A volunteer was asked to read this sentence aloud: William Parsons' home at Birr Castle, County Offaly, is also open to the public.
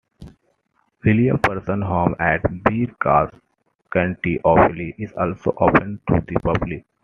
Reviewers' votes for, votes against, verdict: 0, 2, rejected